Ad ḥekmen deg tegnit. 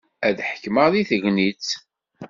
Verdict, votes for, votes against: accepted, 2, 0